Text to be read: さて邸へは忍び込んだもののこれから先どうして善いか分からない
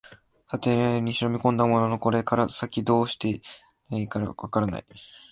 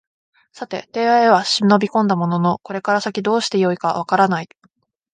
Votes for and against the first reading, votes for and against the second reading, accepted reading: 0, 3, 2, 0, second